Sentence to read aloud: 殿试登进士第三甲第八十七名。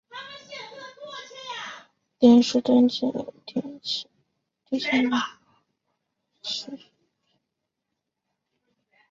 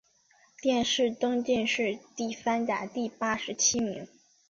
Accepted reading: second